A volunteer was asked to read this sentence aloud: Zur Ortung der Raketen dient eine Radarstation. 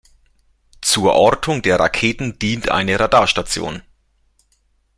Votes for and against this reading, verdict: 2, 0, accepted